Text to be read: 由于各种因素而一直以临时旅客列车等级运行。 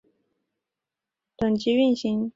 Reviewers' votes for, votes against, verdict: 1, 2, rejected